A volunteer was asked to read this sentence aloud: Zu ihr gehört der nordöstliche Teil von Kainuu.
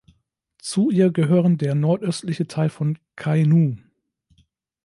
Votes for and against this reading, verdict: 0, 2, rejected